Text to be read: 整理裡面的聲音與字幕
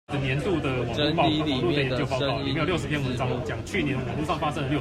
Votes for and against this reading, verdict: 0, 2, rejected